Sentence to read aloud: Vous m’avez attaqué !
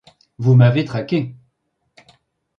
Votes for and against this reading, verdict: 1, 2, rejected